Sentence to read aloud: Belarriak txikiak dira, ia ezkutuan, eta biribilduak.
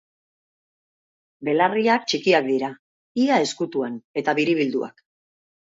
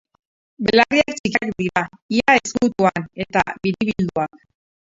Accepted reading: first